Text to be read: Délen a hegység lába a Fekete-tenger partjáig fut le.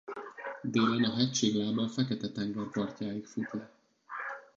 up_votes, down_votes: 0, 2